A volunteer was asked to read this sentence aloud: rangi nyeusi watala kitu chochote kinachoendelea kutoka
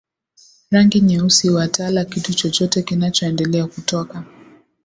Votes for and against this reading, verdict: 2, 0, accepted